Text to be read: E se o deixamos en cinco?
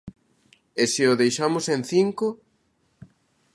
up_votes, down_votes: 2, 0